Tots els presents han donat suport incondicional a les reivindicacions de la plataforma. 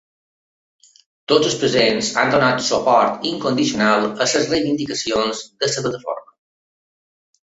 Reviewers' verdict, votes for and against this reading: rejected, 0, 3